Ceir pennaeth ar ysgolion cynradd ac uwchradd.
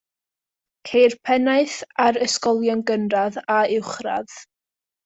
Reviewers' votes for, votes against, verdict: 1, 2, rejected